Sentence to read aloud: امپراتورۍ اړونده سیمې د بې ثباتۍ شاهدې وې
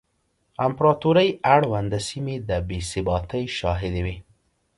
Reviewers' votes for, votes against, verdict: 2, 0, accepted